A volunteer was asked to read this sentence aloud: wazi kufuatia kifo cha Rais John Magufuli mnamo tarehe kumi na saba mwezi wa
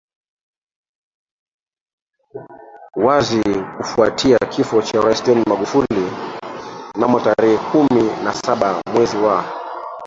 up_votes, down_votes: 0, 2